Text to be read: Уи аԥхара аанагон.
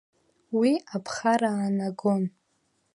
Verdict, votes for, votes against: accepted, 2, 0